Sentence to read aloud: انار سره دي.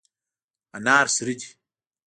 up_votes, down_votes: 2, 1